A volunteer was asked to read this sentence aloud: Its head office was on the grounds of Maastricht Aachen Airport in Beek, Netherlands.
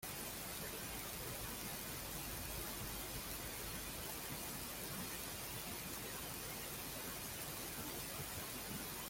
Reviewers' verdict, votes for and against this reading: rejected, 0, 2